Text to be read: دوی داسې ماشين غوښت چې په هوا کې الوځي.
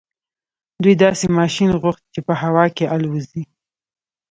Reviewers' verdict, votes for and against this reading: rejected, 0, 2